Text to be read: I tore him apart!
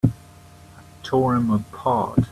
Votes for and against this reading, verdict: 1, 2, rejected